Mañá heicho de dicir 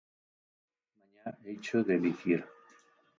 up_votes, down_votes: 0, 4